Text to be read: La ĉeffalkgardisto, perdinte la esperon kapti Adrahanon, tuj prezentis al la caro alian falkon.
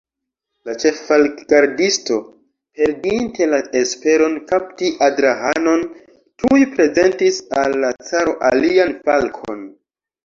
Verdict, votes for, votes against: rejected, 1, 2